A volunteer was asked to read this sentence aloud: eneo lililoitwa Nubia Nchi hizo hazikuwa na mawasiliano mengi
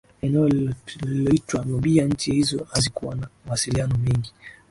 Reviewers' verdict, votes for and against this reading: accepted, 2, 0